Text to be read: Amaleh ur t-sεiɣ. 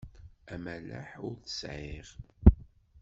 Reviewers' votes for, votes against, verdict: 0, 2, rejected